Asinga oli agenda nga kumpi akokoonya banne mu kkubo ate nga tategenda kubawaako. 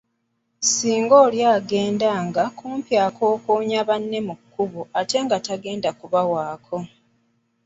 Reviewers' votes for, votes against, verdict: 1, 2, rejected